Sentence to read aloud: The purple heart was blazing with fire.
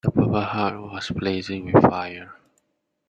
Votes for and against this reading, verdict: 2, 1, accepted